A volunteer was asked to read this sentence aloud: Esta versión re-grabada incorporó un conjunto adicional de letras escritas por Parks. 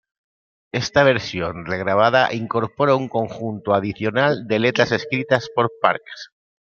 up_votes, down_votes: 0, 2